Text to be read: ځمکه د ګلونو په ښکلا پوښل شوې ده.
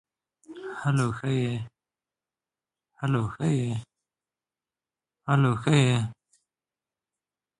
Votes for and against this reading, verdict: 0, 2, rejected